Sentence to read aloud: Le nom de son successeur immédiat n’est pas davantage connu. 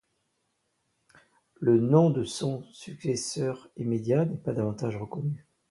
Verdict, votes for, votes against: rejected, 0, 2